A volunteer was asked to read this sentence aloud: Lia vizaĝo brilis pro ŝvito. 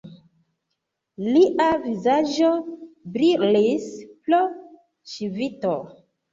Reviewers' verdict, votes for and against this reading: accepted, 2, 1